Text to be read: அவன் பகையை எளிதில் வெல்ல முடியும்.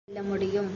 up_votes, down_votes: 0, 2